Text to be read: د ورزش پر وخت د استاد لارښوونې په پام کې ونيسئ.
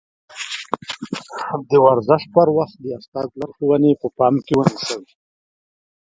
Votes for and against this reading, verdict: 0, 2, rejected